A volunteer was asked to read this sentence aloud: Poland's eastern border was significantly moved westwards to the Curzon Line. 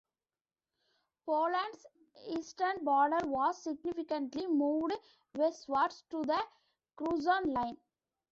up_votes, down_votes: 2, 1